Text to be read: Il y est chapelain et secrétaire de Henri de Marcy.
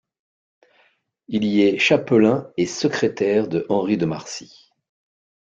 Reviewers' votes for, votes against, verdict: 2, 0, accepted